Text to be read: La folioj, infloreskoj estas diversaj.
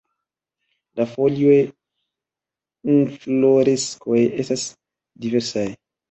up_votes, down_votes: 1, 2